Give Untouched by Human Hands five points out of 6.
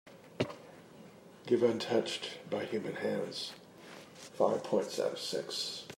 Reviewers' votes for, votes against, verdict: 0, 2, rejected